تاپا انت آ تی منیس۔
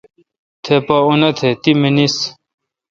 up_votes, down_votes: 1, 2